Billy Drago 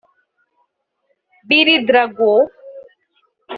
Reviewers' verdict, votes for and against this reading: rejected, 0, 2